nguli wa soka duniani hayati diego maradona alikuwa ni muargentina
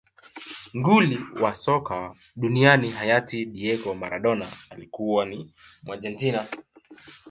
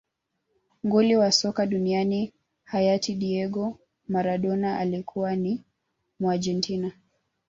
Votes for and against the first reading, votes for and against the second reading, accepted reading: 2, 1, 1, 2, first